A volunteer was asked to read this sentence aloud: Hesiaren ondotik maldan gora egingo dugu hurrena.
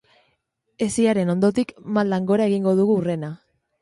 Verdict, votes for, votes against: accepted, 3, 0